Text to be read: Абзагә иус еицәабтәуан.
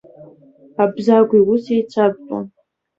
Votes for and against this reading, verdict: 2, 1, accepted